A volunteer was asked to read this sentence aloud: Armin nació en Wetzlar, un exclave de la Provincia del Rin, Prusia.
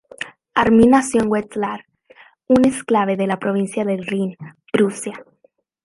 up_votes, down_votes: 0, 2